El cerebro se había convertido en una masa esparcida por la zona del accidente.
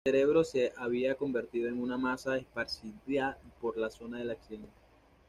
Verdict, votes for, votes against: rejected, 0, 2